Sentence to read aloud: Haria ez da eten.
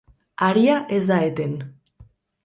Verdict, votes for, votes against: rejected, 0, 2